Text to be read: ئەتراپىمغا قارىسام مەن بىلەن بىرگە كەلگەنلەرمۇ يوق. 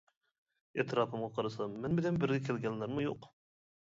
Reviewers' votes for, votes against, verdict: 2, 1, accepted